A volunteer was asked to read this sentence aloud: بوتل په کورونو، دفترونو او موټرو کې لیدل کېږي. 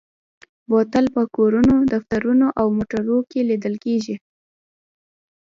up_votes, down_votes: 2, 0